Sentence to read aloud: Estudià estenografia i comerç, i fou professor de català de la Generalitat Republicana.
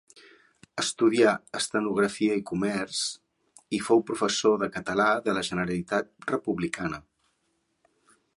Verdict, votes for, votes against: accepted, 2, 0